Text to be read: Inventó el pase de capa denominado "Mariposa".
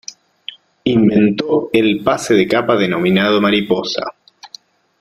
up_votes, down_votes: 2, 0